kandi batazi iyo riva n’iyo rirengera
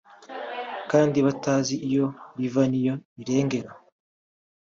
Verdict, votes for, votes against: accepted, 2, 0